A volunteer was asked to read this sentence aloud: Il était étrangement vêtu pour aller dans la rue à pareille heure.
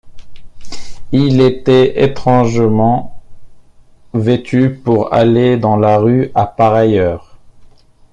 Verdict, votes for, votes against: accepted, 2, 1